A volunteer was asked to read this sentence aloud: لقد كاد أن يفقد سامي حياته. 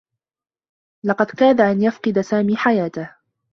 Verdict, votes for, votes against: accepted, 2, 0